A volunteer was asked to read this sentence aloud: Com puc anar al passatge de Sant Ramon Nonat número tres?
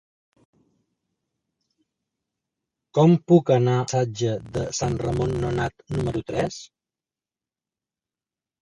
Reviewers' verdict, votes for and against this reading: rejected, 0, 2